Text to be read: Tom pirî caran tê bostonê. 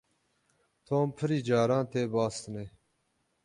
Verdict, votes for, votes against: accepted, 6, 0